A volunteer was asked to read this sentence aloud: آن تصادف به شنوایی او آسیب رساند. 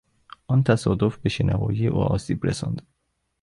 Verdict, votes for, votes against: accepted, 2, 0